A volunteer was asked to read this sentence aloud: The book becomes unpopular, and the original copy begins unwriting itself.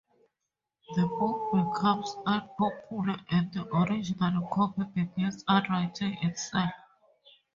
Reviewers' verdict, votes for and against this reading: rejected, 2, 2